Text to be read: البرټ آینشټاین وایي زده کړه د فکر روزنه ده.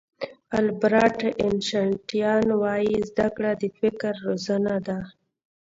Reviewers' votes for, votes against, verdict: 1, 2, rejected